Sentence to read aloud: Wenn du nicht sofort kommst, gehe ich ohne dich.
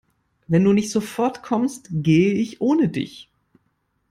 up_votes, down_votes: 2, 0